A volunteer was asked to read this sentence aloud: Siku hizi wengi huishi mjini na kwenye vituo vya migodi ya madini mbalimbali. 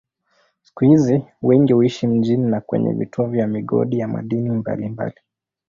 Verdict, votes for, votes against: accepted, 2, 0